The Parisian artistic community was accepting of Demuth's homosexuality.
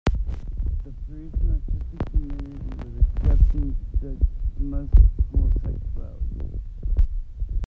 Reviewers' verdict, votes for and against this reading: rejected, 0, 2